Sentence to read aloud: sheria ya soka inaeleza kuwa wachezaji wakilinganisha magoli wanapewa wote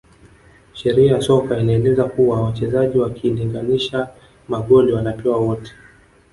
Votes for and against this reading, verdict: 1, 2, rejected